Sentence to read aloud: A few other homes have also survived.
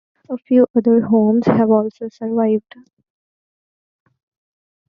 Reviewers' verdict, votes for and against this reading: accepted, 2, 0